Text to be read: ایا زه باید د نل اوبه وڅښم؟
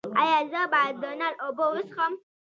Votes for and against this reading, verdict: 1, 2, rejected